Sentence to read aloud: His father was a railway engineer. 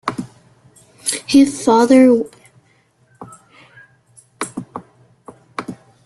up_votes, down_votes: 0, 2